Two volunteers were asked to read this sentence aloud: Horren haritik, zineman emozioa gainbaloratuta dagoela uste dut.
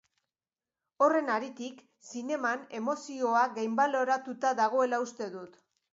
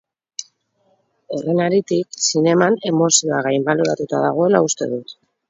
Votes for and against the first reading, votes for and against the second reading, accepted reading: 2, 0, 0, 2, first